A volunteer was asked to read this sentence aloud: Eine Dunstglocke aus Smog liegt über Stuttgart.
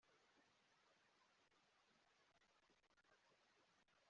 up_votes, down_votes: 0, 2